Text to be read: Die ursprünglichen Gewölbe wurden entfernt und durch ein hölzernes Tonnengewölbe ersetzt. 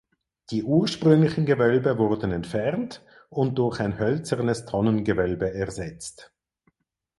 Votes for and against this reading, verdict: 4, 0, accepted